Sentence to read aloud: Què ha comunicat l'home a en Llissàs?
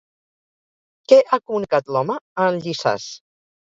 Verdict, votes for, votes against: rejected, 0, 4